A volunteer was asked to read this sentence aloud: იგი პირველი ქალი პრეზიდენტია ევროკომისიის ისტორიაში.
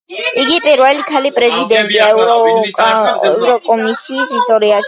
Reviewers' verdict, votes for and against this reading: rejected, 0, 2